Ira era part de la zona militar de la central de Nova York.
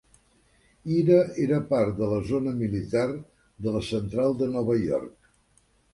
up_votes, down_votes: 2, 0